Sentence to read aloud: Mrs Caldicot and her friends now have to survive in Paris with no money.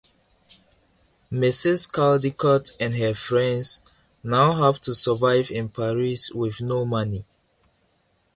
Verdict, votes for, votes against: accepted, 2, 0